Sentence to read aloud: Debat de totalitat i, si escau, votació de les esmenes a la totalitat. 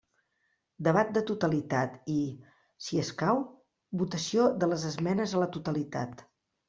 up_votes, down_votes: 3, 0